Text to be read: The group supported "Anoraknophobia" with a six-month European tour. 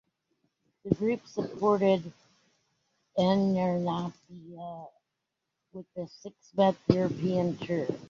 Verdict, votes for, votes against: rejected, 0, 2